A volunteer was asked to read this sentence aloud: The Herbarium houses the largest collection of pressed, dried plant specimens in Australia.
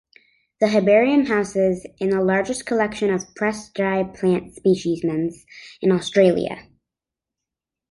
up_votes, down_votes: 1, 3